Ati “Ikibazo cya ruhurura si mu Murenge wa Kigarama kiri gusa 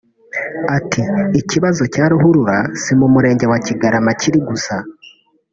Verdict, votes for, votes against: accepted, 2, 0